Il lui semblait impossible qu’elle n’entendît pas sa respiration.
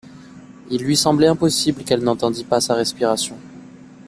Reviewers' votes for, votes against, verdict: 2, 0, accepted